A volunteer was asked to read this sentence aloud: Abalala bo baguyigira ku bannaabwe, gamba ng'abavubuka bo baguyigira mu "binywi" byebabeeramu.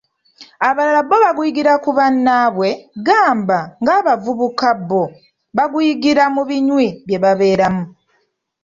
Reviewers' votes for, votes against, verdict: 2, 1, accepted